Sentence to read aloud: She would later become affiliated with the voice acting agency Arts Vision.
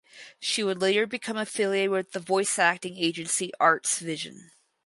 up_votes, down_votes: 4, 0